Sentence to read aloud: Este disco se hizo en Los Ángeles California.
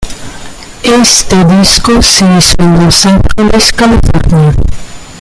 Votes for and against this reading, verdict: 0, 2, rejected